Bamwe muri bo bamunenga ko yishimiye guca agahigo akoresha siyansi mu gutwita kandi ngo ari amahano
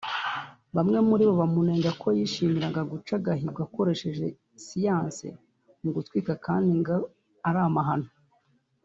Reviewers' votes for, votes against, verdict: 1, 2, rejected